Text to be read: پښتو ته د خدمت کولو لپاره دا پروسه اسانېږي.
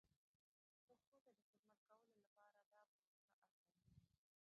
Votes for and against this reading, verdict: 0, 3, rejected